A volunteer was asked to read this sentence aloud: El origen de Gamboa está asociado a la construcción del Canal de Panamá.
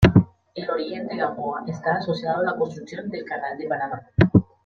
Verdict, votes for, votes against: rejected, 1, 2